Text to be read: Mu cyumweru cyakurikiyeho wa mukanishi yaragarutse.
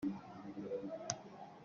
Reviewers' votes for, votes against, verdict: 0, 2, rejected